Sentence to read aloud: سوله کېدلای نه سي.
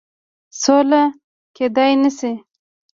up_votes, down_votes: 2, 1